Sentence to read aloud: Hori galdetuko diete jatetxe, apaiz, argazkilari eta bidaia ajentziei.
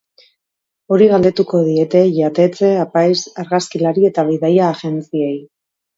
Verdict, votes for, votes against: accepted, 3, 0